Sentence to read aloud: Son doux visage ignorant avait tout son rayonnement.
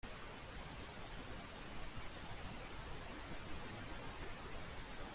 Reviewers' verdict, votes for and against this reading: rejected, 0, 2